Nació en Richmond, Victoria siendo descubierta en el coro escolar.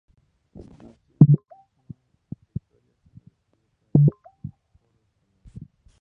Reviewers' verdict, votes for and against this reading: rejected, 2, 4